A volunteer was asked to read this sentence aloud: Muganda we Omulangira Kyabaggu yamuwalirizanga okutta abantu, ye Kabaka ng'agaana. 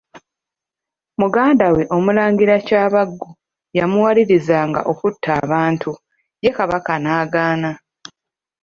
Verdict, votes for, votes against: rejected, 0, 2